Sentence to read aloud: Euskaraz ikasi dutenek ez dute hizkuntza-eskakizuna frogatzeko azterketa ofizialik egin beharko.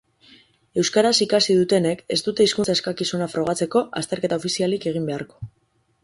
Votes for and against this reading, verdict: 6, 0, accepted